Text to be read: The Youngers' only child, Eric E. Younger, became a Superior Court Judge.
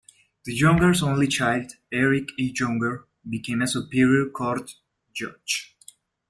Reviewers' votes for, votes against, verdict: 1, 2, rejected